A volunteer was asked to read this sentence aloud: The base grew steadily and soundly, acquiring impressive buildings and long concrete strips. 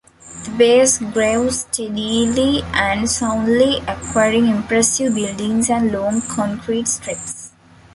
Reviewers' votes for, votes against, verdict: 2, 1, accepted